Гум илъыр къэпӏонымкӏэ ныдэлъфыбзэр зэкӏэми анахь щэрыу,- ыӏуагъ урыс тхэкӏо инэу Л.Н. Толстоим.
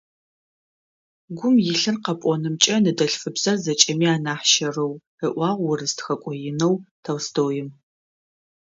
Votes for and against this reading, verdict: 2, 1, accepted